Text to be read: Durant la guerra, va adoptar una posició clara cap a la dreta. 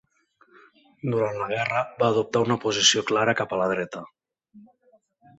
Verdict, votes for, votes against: accepted, 3, 0